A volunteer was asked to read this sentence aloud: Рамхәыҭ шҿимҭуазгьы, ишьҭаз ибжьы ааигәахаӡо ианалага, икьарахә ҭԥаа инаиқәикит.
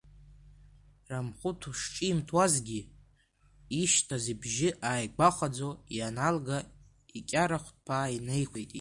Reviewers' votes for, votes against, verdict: 0, 2, rejected